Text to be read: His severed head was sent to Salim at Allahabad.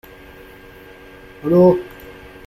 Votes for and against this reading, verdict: 0, 2, rejected